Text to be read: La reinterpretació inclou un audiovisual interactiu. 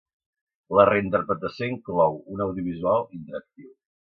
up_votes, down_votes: 2, 0